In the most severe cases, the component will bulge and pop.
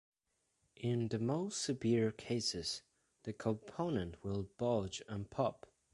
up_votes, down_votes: 2, 0